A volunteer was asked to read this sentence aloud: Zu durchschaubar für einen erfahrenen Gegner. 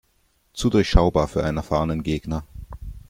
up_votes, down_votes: 2, 0